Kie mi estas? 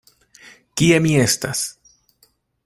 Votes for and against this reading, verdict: 2, 0, accepted